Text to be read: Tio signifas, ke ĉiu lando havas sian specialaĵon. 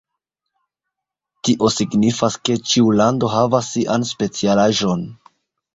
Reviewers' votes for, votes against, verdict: 2, 1, accepted